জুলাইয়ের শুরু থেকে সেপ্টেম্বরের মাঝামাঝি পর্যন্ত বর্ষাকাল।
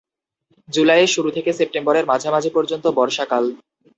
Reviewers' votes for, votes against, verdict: 0, 2, rejected